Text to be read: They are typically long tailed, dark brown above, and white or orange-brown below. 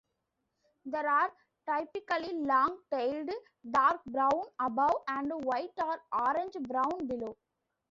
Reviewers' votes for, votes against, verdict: 1, 2, rejected